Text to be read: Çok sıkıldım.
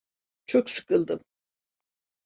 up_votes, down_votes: 2, 0